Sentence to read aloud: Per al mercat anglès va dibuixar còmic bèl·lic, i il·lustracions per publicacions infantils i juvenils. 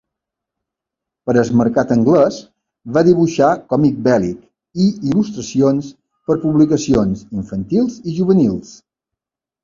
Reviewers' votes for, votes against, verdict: 2, 1, accepted